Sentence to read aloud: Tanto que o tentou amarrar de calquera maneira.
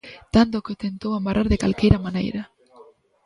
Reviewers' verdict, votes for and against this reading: rejected, 1, 2